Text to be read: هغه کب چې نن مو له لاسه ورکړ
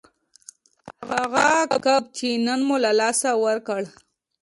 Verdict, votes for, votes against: rejected, 1, 2